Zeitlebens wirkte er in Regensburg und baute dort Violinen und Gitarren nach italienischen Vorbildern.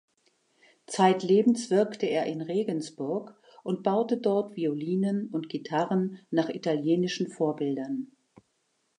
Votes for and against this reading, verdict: 2, 0, accepted